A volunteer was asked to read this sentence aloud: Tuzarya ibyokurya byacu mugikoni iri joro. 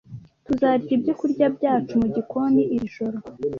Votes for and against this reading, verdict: 2, 1, accepted